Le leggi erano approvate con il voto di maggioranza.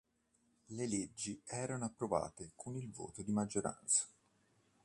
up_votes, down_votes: 2, 0